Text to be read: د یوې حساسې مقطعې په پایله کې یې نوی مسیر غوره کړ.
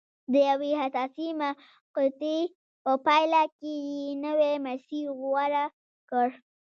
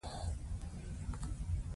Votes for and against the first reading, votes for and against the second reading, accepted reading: 0, 2, 2, 0, second